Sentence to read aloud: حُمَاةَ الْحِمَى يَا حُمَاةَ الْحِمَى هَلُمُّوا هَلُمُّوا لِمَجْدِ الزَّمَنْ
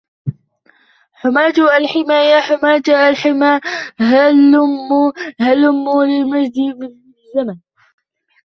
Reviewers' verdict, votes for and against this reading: rejected, 0, 2